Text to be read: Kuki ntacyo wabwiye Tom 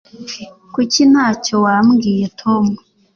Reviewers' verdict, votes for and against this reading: rejected, 1, 2